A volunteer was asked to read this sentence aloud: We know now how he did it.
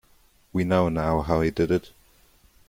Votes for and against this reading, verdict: 2, 0, accepted